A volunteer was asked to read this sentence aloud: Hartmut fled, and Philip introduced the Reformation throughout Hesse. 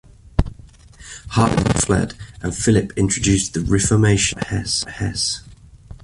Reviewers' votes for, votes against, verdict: 0, 2, rejected